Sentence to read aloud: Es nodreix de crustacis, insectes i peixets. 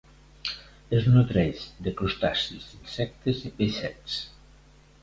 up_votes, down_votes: 2, 0